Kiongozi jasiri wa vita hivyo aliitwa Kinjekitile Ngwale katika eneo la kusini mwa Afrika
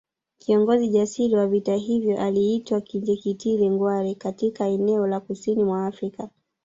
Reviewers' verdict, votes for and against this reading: rejected, 0, 2